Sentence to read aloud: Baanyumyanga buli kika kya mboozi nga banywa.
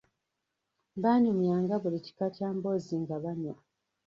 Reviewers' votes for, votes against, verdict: 0, 2, rejected